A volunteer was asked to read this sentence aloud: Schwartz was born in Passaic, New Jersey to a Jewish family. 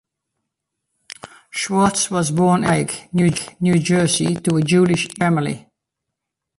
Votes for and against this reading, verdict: 0, 2, rejected